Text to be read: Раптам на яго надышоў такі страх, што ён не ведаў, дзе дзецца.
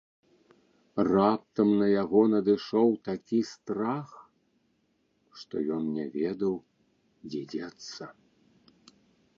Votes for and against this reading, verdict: 0, 2, rejected